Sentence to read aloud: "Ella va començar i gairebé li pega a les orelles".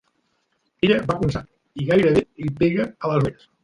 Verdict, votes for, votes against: rejected, 0, 2